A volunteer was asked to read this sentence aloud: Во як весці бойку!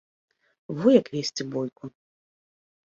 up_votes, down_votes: 2, 0